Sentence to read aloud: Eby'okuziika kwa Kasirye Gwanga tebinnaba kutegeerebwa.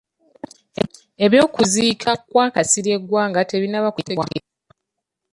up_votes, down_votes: 1, 2